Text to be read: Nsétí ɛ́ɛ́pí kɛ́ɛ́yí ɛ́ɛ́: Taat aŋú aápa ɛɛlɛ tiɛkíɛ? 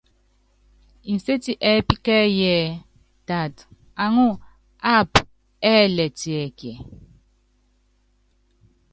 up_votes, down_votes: 1, 2